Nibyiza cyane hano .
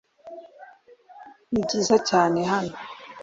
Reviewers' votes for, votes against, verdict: 2, 0, accepted